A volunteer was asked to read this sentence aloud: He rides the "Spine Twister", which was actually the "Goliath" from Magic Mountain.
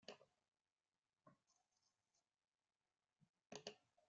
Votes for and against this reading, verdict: 0, 2, rejected